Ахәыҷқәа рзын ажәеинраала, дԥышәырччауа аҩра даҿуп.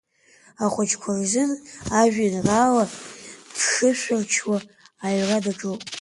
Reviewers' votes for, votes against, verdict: 2, 1, accepted